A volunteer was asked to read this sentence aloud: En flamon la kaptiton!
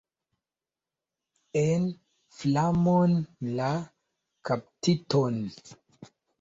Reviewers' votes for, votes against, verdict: 2, 0, accepted